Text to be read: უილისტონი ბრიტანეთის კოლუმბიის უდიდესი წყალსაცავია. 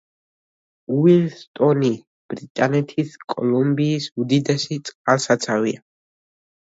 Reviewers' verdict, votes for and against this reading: rejected, 0, 2